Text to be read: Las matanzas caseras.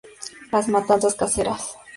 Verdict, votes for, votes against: accepted, 2, 0